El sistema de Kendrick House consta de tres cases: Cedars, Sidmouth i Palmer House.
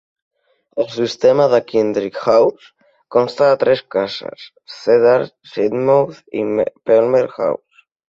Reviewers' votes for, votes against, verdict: 1, 2, rejected